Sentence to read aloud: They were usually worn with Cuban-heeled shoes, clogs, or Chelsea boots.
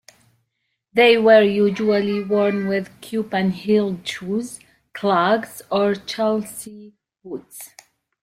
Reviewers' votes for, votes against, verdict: 2, 0, accepted